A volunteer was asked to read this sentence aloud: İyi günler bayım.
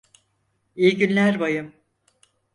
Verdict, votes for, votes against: accepted, 4, 0